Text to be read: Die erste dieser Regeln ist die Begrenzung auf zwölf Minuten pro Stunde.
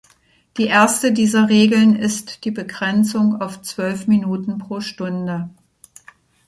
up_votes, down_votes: 2, 0